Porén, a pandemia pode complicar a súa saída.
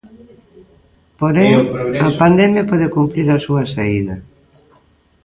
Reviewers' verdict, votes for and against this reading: rejected, 0, 2